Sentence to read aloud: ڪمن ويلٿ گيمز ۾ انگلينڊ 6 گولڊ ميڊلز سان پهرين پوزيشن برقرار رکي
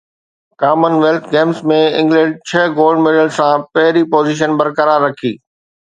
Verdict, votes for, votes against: rejected, 0, 2